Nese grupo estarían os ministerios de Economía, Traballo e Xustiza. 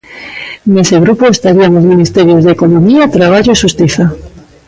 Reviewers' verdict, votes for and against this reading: rejected, 1, 2